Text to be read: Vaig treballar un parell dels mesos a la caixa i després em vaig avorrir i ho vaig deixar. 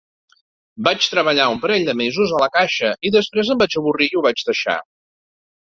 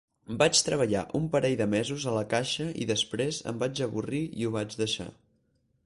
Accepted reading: first